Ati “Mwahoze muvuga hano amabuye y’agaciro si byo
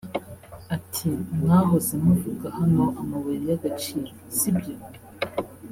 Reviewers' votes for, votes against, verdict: 1, 2, rejected